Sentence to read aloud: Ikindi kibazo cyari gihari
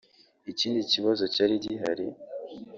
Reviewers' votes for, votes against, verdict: 0, 2, rejected